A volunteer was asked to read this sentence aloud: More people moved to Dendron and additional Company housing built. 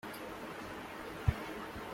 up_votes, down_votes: 0, 2